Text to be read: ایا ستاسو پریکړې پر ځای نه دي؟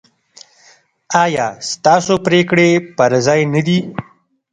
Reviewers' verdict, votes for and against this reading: rejected, 1, 2